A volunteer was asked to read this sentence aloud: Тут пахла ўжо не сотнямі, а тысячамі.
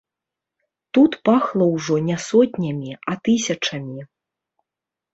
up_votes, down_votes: 1, 2